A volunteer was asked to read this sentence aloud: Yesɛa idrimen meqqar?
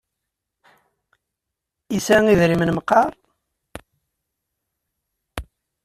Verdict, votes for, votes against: accepted, 2, 0